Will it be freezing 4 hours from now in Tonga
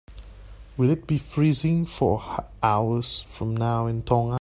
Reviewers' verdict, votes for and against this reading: rejected, 0, 2